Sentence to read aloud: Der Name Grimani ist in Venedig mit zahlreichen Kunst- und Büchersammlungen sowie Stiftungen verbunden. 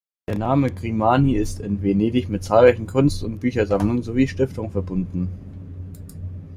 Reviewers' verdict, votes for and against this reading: accepted, 2, 0